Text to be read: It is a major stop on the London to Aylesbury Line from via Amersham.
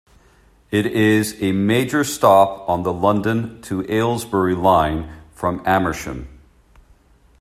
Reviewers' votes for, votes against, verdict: 1, 2, rejected